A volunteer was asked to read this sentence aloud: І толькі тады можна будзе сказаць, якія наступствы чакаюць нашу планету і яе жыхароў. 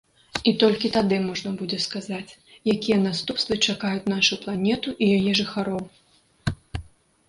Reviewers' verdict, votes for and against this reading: accepted, 2, 0